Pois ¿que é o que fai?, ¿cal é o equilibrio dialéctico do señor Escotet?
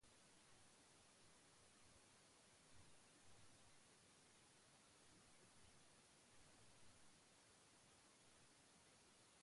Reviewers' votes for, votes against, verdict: 0, 2, rejected